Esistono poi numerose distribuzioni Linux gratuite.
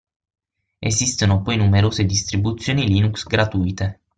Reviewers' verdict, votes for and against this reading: accepted, 6, 0